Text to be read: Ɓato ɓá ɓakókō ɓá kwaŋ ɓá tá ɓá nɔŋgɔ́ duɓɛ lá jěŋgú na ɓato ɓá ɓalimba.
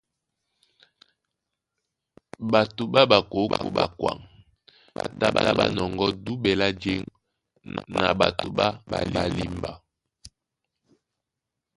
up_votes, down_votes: 1, 2